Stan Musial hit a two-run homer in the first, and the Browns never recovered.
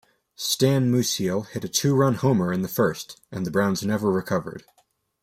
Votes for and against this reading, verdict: 2, 1, accepted